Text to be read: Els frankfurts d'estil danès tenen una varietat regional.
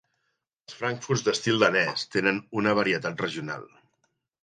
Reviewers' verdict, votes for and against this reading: accepted, 3, 0